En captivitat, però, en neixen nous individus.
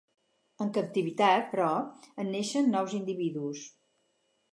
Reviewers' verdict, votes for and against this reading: accepted, 6, 0